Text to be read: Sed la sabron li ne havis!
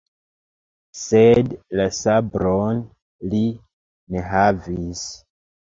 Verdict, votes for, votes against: accepted, 2, 1